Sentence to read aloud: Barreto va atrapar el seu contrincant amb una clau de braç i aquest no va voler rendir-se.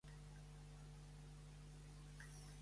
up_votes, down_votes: 0, 3